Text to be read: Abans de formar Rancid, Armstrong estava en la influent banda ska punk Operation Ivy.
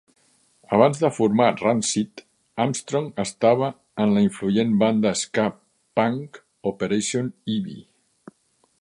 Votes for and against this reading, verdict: 0, 2, rejected